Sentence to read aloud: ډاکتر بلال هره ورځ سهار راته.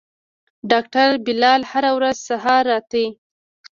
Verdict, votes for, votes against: accepted, 2, 0